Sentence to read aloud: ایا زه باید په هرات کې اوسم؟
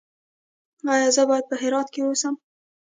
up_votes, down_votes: 1, 2